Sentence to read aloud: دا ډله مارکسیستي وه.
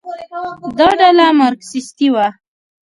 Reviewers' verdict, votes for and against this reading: rejected, 1, 2